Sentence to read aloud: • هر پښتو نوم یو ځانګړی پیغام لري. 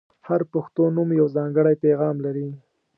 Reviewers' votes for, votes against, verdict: 2, 0, accepted